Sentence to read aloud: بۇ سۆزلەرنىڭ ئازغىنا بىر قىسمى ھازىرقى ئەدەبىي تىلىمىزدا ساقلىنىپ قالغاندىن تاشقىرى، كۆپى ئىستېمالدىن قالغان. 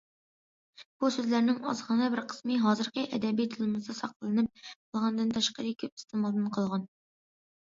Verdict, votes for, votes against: rejected, 1, 2